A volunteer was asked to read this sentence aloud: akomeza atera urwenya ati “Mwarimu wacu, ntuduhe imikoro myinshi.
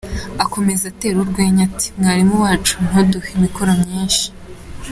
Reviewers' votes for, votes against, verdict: 2, 0, accepted